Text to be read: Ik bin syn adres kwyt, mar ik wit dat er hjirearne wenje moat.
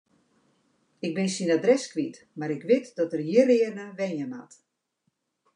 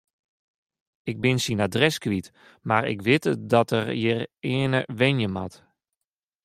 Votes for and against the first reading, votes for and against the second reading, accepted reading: 2, 0, 0, 2, first